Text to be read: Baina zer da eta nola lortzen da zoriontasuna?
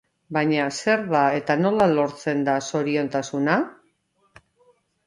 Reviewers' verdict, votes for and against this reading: accepted, 2, 0